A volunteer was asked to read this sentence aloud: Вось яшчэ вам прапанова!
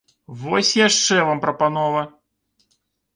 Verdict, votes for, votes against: accepted, 2, 0